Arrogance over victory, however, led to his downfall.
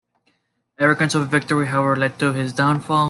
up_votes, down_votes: 2, 1